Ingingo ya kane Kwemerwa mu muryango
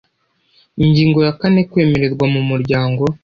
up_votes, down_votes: 1, 2